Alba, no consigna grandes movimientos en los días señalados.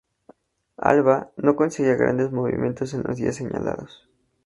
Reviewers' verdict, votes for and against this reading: rejected, 0, 2